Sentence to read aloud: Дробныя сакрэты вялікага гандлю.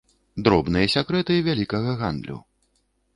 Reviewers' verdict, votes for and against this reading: rejected, 1, 2